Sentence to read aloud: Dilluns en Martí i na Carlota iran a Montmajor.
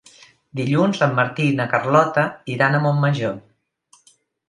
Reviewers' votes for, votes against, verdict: 5, 0, accepted